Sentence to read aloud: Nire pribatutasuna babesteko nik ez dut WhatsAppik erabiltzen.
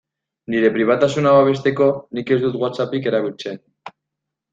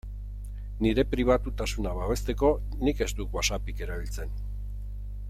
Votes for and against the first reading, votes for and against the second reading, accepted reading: 0, 2, 2, 0, second